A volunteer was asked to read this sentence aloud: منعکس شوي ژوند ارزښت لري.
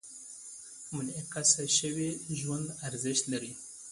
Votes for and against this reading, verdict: 2, 0, accepted